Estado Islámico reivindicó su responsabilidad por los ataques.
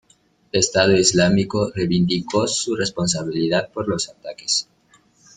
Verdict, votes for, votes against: rejected, 0, 2